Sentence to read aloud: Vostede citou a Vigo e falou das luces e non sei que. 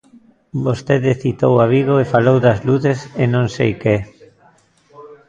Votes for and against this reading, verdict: 1, 2, rejected